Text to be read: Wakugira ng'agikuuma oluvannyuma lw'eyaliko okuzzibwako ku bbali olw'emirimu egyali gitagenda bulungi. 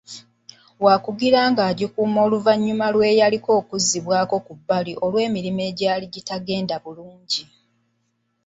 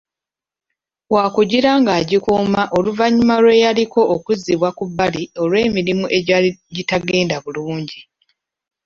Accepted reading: first